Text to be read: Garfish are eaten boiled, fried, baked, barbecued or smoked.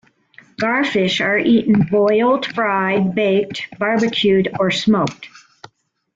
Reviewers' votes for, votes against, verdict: 2, 0, accepted